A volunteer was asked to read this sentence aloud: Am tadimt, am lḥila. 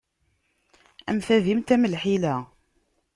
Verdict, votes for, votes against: accepted, 2, 0